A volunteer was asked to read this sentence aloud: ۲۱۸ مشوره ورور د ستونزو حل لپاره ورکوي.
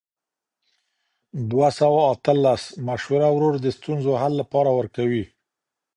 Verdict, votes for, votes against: rejected, 0, 2